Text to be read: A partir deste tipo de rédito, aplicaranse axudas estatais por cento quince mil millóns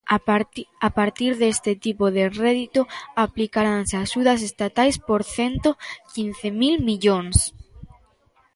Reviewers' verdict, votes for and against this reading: rejected, 1, 2